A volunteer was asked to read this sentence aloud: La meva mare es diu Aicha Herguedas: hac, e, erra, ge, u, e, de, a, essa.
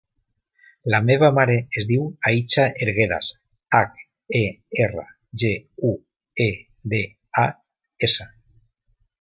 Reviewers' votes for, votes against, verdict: 2, 0, accepted